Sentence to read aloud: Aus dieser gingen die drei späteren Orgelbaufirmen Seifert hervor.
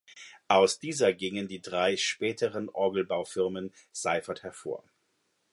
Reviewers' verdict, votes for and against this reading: accepted, 2, 0